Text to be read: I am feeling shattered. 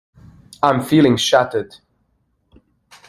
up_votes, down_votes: 2, 1